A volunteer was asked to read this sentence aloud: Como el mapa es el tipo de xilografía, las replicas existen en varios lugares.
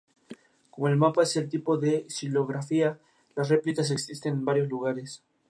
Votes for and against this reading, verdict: 4, 0, accepted